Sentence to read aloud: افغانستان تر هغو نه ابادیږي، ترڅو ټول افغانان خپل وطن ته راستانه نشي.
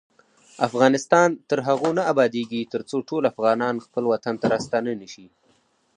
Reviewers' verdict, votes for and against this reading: accepted, 4, 0